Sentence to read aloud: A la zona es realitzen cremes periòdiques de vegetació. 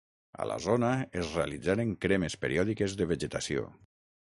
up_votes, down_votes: 0, 6